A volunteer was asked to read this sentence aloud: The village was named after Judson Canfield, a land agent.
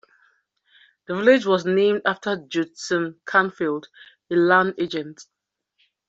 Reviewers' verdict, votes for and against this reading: accepted, 2, 0